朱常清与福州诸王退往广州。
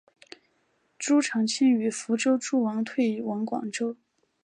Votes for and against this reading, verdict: 6, 1, accepted